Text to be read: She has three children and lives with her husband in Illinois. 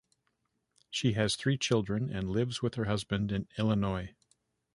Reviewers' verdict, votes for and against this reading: accepted, 2, 0